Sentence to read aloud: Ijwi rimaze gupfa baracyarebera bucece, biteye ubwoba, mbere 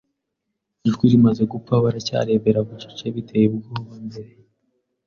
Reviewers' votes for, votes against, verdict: 2, 0, accepted